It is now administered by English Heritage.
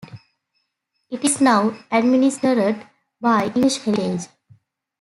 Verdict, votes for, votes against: rejected, 1, 2